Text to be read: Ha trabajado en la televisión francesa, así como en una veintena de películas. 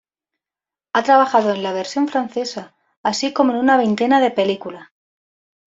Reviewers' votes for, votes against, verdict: 1, 2, rejected